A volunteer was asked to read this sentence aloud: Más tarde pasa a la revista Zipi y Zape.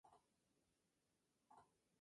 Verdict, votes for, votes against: rejected, 0, 2